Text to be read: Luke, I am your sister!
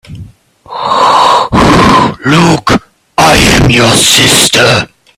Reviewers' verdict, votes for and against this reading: rejected, 0, 2